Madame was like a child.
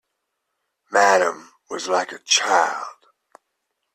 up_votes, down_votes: 2, 1